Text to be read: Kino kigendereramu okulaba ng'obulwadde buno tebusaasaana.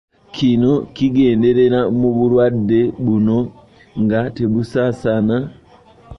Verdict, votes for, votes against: rejected, 0, 2